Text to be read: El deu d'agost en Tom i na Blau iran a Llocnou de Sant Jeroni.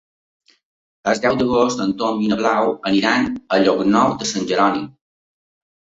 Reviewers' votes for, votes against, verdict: 1, 2, rejected